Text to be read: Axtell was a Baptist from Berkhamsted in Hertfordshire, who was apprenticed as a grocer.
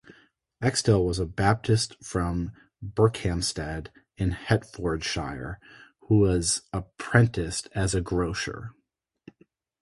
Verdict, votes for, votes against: accepted, 6, 0